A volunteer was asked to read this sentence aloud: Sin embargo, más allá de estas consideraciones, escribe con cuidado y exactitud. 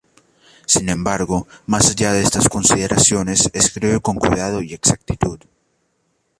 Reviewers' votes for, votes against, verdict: 2, 0, accepted